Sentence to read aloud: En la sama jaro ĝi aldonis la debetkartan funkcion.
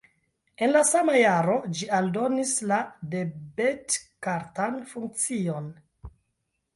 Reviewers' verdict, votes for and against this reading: accepted, 2, 1